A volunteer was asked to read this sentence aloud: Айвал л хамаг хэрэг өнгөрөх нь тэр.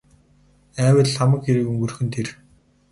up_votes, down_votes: 8, 0